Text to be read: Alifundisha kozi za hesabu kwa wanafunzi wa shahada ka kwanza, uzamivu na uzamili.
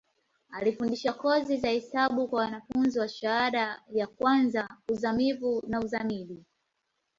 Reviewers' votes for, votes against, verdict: 7, 4, accepted